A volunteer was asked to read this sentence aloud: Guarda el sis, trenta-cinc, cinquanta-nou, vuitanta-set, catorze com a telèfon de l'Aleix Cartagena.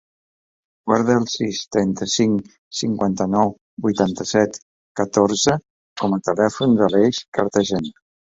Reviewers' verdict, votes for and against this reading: rejected, 1, 3